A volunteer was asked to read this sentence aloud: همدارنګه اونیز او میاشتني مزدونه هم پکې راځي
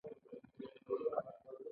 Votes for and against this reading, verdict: 0, 2, rejected